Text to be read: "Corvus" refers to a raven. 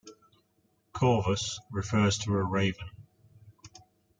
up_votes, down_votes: 1, 2